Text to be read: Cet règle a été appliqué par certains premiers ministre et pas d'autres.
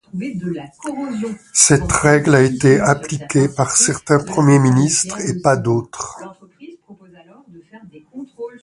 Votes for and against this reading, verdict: 0, 2, rejected